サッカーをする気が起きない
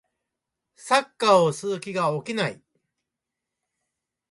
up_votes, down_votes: 1, 2